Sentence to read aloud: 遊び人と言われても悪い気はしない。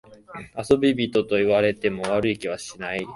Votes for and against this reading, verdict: 0, 2, rejected